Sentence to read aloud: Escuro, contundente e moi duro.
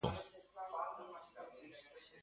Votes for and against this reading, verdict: 0, 2, rejected